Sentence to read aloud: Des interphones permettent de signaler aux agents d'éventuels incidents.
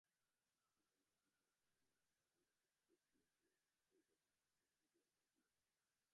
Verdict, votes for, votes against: rejected, 0, 2